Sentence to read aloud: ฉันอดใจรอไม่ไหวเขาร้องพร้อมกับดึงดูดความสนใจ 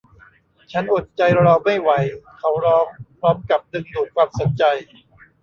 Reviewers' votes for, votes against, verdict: 0, 2, rejected